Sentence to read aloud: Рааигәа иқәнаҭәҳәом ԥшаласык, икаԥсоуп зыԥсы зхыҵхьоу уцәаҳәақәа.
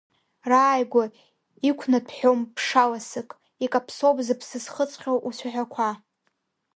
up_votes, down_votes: 1, 2